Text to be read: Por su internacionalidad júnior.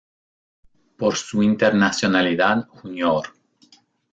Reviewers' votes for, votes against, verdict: 1, 2, rejected